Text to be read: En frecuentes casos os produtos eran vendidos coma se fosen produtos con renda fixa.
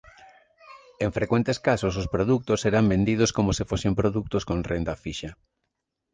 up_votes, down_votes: 2, 1